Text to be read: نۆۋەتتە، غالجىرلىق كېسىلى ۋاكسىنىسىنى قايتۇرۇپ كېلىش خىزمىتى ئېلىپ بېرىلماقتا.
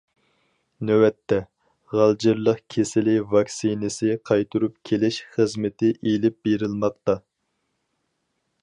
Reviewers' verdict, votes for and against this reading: rejected, 0, 4